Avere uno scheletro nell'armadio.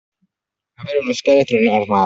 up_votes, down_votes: 0, 2